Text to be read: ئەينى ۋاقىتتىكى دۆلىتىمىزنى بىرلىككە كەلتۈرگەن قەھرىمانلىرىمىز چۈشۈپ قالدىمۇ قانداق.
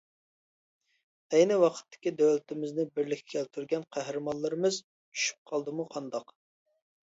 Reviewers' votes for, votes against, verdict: 2, 0, accepted